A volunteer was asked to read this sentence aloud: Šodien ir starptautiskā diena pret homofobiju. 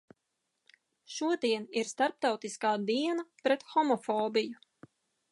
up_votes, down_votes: 2, 0